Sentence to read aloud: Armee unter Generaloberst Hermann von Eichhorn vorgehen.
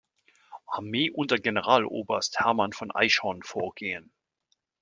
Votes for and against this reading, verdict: 2, 0, accepted